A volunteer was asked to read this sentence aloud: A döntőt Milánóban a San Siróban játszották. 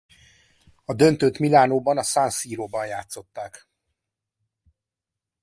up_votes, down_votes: 2, 0